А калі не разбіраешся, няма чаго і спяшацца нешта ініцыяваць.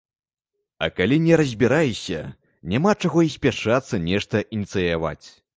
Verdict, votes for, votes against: accepted, 2, 0